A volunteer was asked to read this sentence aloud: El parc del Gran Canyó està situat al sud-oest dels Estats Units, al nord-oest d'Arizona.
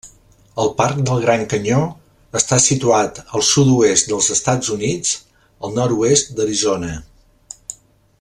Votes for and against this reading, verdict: 3, 0, accepted